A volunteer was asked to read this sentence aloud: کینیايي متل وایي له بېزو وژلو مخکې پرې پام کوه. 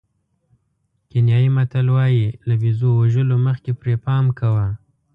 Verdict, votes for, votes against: accepted, 2, 0